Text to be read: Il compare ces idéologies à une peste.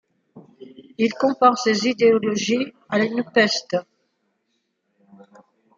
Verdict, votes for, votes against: accepted, 2, 0